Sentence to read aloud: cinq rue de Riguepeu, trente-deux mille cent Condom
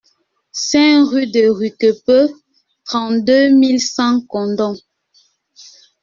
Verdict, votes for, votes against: rejected, 0, 2